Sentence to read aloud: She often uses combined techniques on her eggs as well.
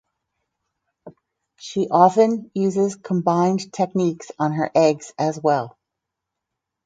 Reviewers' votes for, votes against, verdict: 4, 0, accepted